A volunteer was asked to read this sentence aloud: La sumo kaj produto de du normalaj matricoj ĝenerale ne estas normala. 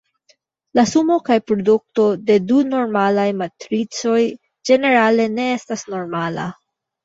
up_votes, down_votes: 2, 1